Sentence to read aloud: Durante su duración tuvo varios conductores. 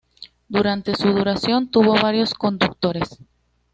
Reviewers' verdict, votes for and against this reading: rejected, 1, 2